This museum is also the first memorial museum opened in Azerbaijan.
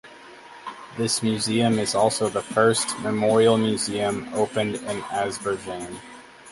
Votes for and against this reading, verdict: 2, 4, rejected